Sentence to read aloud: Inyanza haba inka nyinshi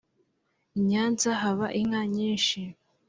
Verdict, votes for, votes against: accepted, 3, 0